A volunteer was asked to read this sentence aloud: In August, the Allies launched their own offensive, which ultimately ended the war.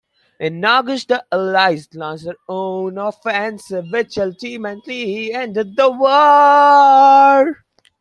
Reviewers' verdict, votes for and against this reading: rejected, 0, 3